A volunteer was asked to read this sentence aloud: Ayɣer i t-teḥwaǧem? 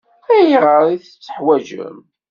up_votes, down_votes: 1, 2